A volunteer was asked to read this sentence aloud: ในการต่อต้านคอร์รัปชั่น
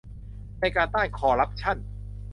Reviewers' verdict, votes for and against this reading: rejected, 0, 2